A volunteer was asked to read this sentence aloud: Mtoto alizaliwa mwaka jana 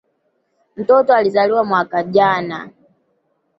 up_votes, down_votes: 2, 0